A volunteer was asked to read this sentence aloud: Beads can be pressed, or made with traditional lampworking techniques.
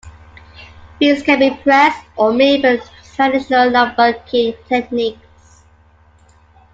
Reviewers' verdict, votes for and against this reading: accepted, 2, 1